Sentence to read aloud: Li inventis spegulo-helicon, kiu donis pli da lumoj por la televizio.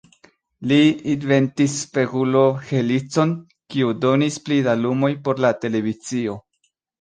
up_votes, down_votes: 0, 2